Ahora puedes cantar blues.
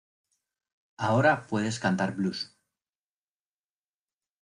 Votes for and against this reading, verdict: 2, 0, accepted